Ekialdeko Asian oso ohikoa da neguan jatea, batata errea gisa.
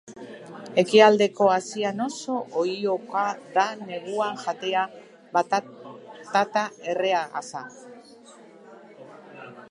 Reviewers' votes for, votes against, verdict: 0, 2, rejected